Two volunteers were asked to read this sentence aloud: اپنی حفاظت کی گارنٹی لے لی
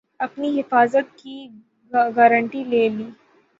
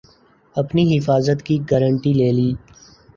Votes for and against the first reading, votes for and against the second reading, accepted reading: 0, 3, 2, 0, second